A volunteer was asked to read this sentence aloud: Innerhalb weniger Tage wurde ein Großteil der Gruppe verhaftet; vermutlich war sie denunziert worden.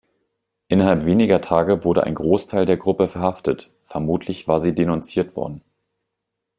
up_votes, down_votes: 2, 0